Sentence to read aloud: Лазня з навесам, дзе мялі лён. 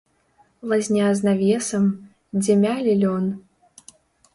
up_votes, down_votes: 1, 3